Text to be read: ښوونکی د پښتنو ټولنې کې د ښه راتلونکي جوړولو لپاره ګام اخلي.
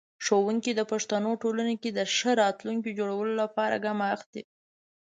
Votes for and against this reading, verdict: 2, 1, accepted